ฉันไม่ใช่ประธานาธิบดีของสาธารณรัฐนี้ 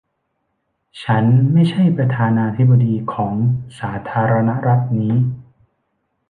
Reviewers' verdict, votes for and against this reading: accepted, 2, 0